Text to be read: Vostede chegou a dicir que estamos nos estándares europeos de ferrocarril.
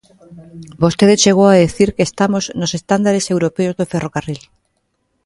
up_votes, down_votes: 2, 1